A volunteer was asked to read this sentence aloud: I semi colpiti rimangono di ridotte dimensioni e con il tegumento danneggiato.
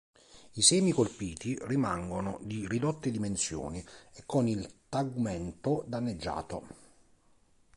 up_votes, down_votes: 1, 3